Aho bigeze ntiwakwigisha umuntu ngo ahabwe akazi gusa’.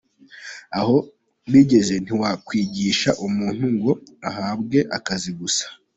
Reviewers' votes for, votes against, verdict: 2, 0, accepted